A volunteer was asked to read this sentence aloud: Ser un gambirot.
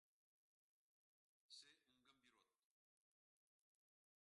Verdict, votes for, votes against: rejected, 0, 2